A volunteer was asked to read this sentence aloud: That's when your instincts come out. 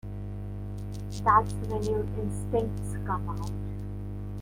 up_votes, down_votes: 2, 1